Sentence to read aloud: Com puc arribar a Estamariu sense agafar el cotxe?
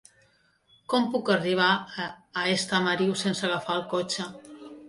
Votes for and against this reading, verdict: 0, 2, rejected